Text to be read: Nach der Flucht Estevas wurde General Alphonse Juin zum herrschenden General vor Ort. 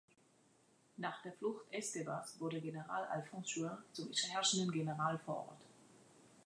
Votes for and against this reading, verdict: 0, 2, rejected